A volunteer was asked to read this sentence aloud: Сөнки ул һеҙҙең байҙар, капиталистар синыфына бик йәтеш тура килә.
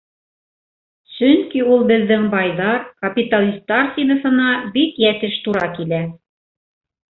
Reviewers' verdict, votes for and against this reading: rejected, 1, 2